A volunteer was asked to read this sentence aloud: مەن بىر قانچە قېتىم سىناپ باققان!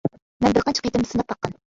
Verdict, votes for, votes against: rejected, 1, 2